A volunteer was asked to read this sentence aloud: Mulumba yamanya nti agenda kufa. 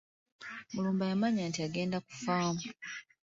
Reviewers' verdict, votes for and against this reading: accepted, 2, 0